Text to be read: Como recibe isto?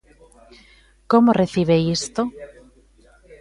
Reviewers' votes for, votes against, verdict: 0, 2, rejected